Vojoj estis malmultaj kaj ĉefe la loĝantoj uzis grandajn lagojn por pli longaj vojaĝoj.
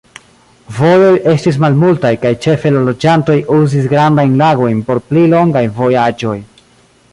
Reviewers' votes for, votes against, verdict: 1, 2, rejected